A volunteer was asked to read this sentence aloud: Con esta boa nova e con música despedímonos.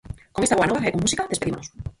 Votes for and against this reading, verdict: 0, 4, rejected